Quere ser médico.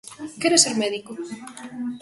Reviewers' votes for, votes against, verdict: 1, 2, rejected